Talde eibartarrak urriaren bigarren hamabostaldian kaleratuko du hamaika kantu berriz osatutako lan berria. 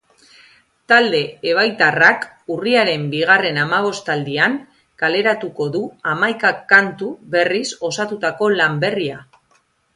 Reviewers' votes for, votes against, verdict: 0, 2, rejected